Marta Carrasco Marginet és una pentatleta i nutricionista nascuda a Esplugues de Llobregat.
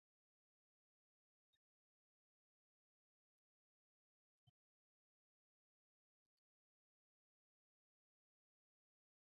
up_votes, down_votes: 0, 2